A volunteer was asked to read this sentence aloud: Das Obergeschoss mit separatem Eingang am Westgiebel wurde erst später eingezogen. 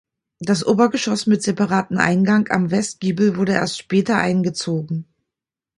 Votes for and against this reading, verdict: 1, 2, rejected